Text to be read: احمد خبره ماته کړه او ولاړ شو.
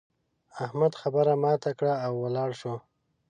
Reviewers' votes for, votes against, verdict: 5, 0, accepted